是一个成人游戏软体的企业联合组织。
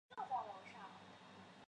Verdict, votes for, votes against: rejected, 0, 2